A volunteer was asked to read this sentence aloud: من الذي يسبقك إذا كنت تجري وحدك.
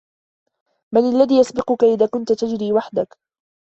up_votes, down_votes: 2, 0